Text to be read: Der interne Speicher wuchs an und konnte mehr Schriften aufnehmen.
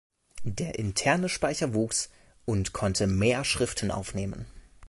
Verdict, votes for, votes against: rejected, 0, 2